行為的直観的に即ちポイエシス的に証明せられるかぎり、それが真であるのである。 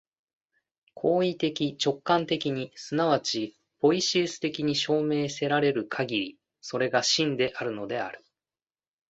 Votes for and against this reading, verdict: 2, 1, accepted